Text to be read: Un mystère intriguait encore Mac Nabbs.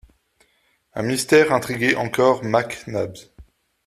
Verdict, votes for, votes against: accepted, 2, 0